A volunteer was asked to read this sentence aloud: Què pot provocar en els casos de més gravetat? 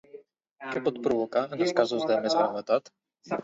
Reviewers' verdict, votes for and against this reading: rejected, 0, 2